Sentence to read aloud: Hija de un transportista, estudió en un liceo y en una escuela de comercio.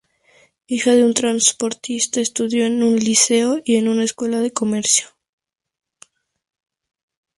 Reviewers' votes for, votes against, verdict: 2, 0, accepted